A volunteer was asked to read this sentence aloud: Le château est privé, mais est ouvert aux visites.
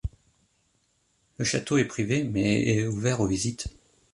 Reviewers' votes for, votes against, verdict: 2, 0, accepted